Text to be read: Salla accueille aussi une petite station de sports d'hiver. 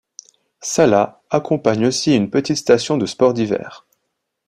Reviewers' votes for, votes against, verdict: 0, 2, rejected